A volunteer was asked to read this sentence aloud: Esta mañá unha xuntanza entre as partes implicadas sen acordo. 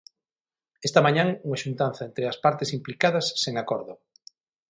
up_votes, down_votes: 3, 6